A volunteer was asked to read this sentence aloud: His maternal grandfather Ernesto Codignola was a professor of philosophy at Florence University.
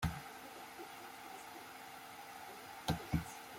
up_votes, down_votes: 0, 2